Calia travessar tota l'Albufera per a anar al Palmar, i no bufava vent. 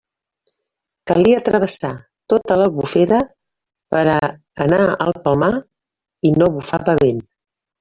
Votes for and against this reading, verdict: 0, 2, rejected